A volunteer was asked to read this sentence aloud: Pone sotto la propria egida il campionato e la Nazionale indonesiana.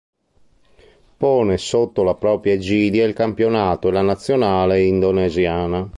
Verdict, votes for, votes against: rejected, 1, 2